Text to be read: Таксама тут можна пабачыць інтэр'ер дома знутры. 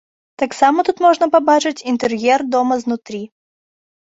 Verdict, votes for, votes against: rejected, 1, 2